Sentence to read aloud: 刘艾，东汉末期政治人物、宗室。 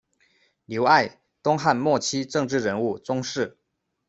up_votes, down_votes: 2, 0